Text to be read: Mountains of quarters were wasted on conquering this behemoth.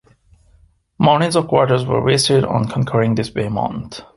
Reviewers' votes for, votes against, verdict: 1, 2, rejected